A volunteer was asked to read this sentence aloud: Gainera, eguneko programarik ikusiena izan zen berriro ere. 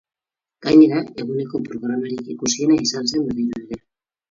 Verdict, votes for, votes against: accepted, 4, 0